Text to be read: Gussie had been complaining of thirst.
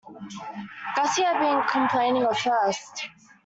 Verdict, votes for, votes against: rejected, 0, 2